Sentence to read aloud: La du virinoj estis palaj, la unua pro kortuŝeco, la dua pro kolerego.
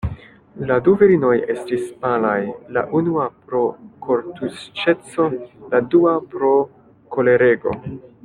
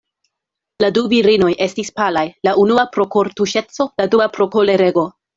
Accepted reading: second